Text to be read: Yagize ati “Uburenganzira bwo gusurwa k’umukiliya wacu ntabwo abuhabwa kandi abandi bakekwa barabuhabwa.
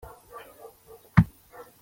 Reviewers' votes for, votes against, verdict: 0, 2, rejected